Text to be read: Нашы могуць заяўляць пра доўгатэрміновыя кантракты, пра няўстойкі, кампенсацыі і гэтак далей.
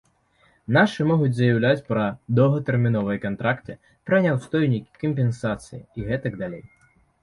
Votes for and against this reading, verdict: 0, 2, rejected